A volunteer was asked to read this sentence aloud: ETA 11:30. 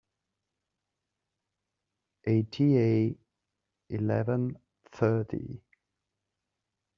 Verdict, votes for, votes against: rejected, 0, 2